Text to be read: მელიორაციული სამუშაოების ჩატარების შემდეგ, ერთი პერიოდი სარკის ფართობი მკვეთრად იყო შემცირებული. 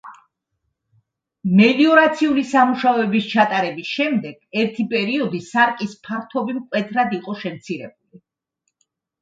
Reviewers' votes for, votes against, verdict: 2, 0, accepted